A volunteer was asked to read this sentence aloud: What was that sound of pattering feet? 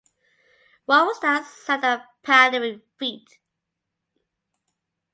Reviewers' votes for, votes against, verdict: 2, 0, accepted